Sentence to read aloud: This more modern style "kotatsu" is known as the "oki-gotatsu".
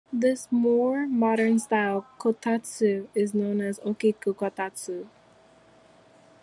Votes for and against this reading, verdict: 1, 2, rejected